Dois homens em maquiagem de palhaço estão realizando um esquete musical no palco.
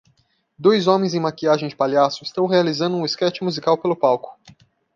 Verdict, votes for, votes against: rejected, 0, 2